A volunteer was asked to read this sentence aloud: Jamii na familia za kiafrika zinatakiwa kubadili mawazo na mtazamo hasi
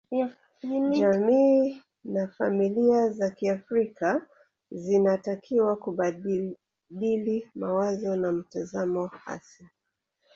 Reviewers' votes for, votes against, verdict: 0, 2, rejected